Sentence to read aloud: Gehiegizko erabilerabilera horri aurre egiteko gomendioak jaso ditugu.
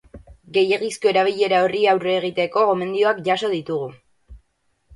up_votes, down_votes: 0, 4